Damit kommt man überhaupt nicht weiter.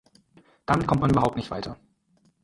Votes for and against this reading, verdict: 4, 0, accepted